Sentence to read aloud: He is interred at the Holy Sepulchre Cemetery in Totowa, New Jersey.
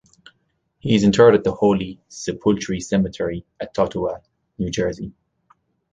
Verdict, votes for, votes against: accepted, 2, 1